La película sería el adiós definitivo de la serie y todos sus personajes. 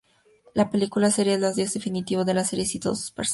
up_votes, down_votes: 0, 2